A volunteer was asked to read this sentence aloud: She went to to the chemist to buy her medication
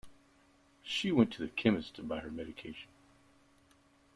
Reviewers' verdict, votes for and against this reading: accepted, 2, 1